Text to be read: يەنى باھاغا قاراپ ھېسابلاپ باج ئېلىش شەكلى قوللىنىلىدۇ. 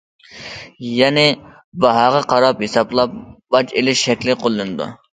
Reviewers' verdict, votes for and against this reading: rejected, 1, 2